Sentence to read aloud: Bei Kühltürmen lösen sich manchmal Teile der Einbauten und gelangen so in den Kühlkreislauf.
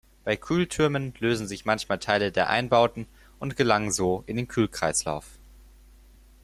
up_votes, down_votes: 4, 0